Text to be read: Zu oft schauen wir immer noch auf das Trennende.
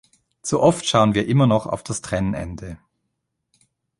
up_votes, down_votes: 1, 2